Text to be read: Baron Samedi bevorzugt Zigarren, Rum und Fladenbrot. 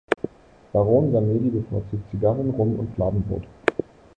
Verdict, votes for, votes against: rejected, 1, 3